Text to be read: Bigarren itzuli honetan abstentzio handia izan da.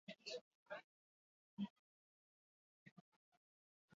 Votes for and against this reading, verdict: 0, 4, rejected